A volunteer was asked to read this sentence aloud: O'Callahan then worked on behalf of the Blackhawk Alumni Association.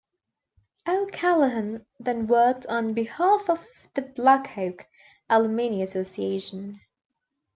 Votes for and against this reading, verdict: 2, 1, accepted